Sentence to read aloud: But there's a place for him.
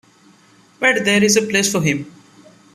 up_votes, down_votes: 2, 1